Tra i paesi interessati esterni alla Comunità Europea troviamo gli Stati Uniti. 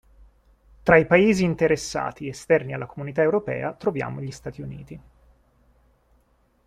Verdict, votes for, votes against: accepted, 2, 0